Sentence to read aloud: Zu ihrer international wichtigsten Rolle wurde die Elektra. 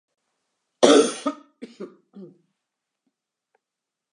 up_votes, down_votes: 0, 2